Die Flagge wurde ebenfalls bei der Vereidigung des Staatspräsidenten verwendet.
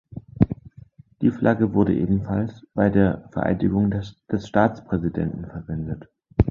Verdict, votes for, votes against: rejected, 0, 3